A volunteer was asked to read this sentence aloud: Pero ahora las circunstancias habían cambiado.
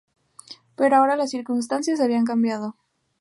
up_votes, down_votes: 2, 0